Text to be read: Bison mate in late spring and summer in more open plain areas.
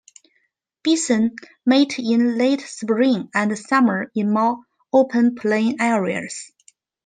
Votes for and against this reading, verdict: 1, 2, rejected